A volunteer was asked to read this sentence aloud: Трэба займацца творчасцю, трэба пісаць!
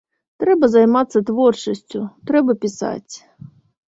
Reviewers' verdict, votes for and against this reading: accepted, 2, 0